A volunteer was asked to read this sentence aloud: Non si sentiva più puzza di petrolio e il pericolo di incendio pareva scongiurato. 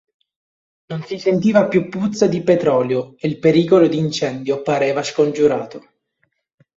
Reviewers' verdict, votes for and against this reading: accepted, 2, 1